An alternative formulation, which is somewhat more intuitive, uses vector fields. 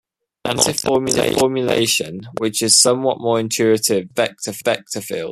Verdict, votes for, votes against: rejected, 0, 2